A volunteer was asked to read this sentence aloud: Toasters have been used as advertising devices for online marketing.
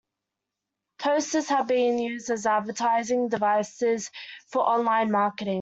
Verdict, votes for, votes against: accepted, 2, 0